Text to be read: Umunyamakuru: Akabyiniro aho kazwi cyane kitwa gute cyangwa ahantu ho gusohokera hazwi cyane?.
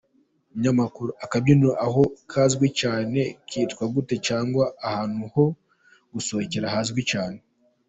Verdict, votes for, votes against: accepted, 2, 0